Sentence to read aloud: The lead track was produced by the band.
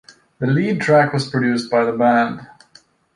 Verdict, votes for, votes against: accepted, 2, 0